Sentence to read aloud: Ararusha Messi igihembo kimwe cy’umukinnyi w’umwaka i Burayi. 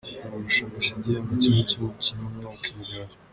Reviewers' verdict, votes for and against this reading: rejected, 1, 2